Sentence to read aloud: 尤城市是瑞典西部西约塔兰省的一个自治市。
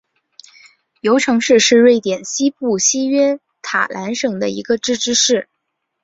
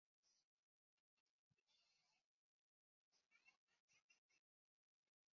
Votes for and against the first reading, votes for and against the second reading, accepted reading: 3, 0, 3, 4, first